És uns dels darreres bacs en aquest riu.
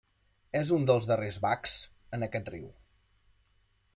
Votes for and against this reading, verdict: 2, 0, accepted